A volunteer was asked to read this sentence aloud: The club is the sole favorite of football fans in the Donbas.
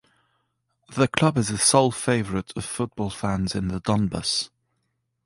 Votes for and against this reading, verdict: 3, 0, accepted